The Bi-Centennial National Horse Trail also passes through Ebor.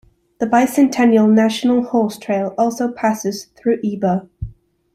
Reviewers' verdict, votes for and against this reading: accepted, 3, 0